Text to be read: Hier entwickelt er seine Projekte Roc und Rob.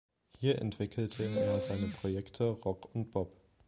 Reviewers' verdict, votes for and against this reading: rejected, 0, 2